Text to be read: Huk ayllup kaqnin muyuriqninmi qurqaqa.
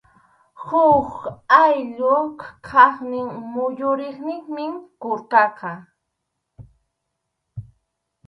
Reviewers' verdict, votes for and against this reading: rejected, 2, 2